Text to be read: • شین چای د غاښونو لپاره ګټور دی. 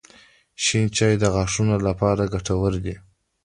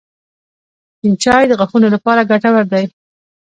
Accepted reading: first